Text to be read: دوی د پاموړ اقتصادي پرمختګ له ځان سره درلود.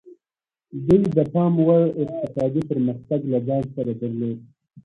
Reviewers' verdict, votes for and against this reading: rejected, 0, 2